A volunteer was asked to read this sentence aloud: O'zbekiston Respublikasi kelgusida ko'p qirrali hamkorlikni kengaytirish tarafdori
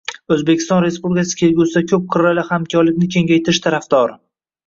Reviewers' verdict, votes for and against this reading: accepted, 2, 0